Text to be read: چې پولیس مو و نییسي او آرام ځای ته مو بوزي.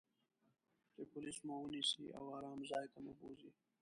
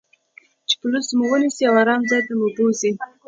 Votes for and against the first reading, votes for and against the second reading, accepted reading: 0, 2, 2, 0, second